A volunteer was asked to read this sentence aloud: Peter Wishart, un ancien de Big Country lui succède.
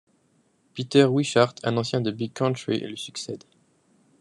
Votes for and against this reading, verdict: 2, 0, accepted